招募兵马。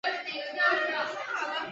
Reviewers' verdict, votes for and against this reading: rejected, 0, 2